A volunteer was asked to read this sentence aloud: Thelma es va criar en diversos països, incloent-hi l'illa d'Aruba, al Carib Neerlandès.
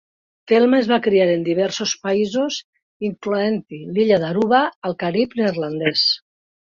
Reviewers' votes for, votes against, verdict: 2, 0, accepted